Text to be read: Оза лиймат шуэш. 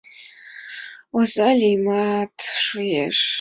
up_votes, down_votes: 4, 3